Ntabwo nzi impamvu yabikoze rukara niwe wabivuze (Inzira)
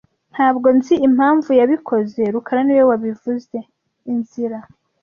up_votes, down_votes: 1, 2